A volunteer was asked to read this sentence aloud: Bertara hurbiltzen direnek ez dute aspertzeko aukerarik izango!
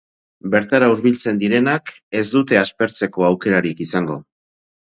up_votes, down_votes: 2, 4